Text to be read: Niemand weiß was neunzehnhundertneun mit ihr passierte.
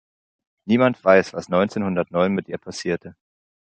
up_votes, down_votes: 2, 0